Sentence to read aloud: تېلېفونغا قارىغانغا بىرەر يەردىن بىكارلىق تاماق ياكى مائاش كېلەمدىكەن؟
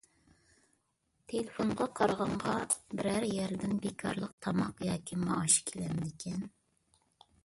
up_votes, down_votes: 1, 2